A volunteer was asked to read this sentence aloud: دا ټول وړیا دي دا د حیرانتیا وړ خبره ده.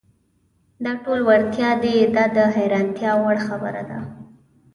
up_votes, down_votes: 0, 2